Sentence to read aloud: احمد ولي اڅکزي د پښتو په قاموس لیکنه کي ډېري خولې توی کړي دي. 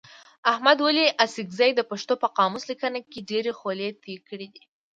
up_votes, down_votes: 2, 0